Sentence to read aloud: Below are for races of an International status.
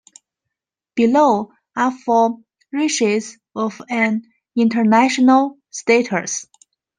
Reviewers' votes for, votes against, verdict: 2, 1, accepted